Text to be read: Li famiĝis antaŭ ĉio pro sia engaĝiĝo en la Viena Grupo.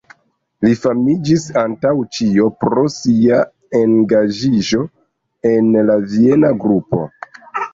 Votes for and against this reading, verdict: 0, 2, rejected